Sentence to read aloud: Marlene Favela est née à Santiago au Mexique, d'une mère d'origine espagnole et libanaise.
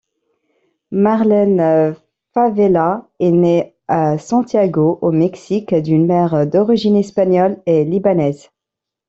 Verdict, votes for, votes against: accepted, 2, 0